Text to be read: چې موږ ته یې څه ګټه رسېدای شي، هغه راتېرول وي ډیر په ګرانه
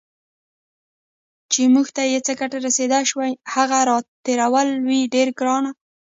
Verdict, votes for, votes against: rejected, 1, 2